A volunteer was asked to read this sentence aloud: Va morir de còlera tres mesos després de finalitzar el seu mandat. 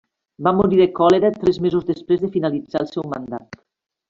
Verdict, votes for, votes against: accepted, 2, 0